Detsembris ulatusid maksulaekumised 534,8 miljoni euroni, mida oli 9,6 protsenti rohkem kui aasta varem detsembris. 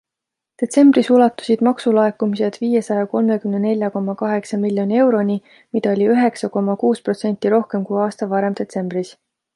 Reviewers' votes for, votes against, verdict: 0, 2, rejected